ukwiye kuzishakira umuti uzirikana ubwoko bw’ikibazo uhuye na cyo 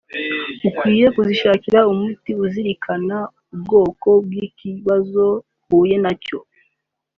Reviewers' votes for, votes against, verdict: 3, 1, accepted